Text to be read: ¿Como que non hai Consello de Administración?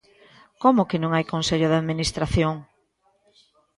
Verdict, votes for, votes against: accepted, 2, 1